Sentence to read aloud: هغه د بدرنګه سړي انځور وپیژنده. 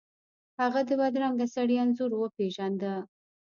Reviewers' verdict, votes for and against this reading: rejected, 1, 2